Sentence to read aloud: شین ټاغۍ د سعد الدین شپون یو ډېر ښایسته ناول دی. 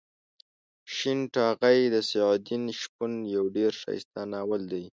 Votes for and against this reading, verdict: 2, 0, accepted